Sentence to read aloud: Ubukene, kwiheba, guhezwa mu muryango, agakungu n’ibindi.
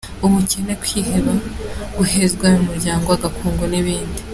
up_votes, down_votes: 3, 1